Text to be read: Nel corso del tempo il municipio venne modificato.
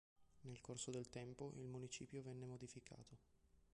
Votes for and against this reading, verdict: 0, 2, rejected